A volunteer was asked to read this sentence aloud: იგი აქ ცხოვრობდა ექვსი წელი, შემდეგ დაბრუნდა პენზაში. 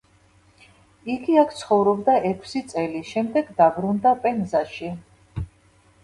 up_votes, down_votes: 2, 0